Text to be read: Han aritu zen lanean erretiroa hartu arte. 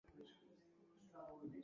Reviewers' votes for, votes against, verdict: 0, 3, rejected